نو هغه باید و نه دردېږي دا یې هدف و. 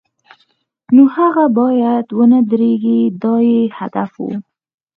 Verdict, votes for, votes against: accepted, 6, 0